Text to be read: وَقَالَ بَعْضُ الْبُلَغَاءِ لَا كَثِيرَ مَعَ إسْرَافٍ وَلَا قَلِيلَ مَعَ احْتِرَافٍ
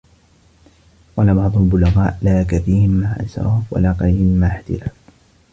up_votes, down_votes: 1, 2